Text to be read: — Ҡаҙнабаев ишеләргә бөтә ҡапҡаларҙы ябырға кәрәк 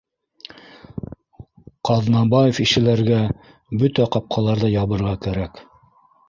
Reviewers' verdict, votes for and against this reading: rejected, 1, 2